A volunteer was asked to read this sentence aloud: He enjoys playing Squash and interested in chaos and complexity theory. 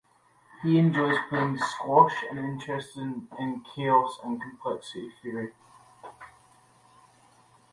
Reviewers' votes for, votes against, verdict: 0, 2, rejected